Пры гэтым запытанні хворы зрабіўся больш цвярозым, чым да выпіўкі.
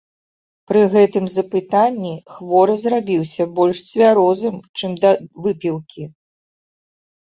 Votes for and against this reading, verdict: 2, 0, accepted